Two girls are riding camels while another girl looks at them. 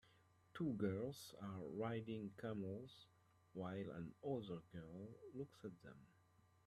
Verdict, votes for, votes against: accepted, 2, 1